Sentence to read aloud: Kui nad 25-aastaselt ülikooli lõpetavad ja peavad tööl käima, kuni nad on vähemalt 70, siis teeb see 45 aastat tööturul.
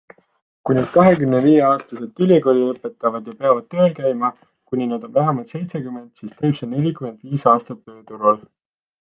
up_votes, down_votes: 0, 2